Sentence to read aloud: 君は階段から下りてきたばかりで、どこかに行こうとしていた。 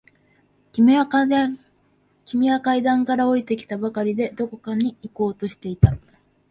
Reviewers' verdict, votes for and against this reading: rejected, 0, 2